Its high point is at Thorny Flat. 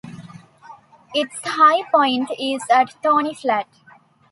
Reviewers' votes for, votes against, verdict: 2, 0, accepted